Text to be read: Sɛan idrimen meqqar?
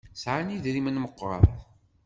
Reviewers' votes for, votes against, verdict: 1, 2, rejected